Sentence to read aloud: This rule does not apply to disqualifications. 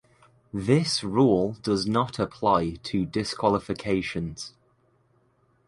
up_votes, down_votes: 2, 0